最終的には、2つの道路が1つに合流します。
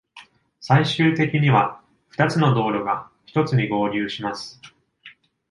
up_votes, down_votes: 0, 2